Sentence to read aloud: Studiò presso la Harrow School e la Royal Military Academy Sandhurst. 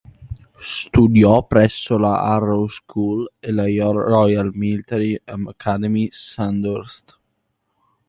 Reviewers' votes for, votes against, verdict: 0, 2, rejected